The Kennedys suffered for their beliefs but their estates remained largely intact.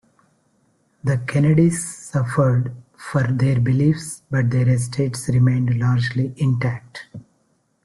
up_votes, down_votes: 2, 1